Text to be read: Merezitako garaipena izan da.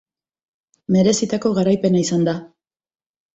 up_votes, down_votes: 2, 0